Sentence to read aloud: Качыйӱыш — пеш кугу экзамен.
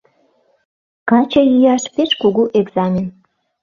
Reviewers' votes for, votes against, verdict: 0, 2, rejected